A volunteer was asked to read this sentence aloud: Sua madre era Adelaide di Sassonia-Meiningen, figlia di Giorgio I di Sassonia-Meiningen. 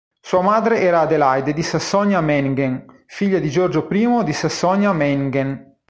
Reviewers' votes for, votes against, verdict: 1, 2, rejected